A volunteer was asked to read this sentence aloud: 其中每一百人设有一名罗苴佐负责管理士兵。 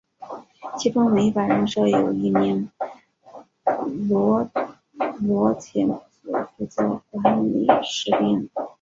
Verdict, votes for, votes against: accepted, 3, 0